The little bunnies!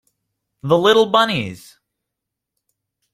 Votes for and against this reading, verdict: 2, 0, accepted